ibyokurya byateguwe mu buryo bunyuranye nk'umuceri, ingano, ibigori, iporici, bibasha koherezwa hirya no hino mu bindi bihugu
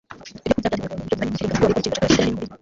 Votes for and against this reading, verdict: 0, 2, rejected